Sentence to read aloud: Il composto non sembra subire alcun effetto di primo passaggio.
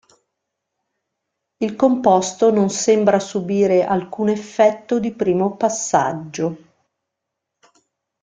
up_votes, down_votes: 2, 0